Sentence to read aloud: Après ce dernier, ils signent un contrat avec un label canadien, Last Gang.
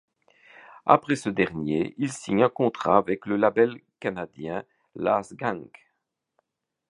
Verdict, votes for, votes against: rejected, 1, 2